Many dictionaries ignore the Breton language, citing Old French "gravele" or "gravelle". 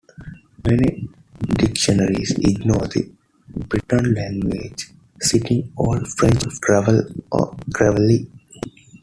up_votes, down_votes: 0, 2